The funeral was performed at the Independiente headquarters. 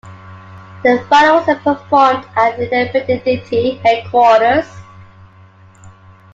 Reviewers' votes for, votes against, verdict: 0, 2, rejected